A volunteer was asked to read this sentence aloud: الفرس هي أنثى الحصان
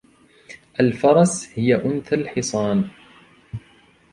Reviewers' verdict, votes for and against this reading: accepted, 2, 0